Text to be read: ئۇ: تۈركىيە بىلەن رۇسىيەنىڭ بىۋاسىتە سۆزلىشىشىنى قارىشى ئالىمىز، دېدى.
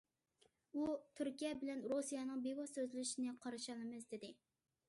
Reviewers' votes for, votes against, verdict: 0, 2, rejected